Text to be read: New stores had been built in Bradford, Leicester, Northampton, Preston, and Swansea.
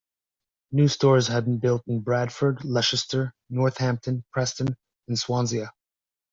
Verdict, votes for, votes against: rejected, 1, 2